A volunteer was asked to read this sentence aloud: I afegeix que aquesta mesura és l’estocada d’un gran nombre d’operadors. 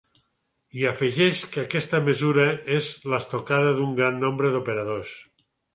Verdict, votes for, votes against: accepted, 6, 0